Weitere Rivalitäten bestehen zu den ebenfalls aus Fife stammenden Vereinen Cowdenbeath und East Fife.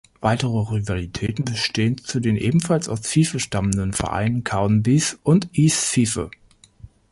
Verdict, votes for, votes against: rejected, 1, 2